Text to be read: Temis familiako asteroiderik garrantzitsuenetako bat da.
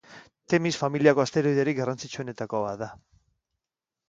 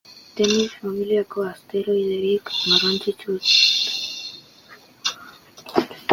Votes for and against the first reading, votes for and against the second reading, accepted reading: 2, 0, 0, 2, first